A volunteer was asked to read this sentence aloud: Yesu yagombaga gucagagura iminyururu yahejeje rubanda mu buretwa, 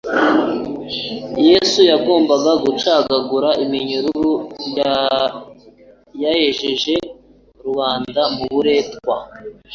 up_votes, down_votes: 0, 3